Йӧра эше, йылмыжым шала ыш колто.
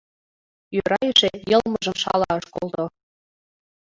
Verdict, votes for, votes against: accepted, 2, 0